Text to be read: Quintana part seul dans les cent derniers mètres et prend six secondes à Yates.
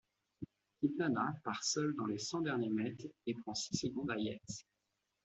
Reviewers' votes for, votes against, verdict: 2, 1, accepted